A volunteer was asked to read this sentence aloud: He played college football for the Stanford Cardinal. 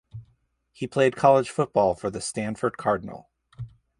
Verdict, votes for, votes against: rejected, 2, 2